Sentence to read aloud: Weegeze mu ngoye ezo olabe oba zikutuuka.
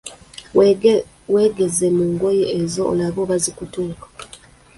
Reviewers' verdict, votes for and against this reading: rejected, 1, 3